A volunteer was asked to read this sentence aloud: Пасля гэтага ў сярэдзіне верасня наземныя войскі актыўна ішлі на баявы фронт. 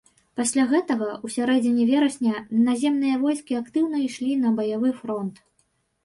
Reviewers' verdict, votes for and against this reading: accepted, 2, 1